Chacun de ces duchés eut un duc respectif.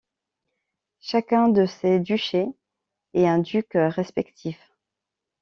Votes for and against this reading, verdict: 0, 2, rejected